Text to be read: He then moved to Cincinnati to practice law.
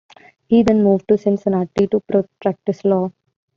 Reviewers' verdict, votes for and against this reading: rejected, 1, 2